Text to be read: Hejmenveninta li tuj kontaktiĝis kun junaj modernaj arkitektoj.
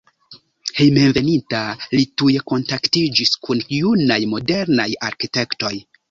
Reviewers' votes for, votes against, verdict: 1, 2, rejected